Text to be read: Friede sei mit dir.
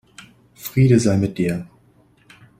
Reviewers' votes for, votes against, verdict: 2, 0, accepted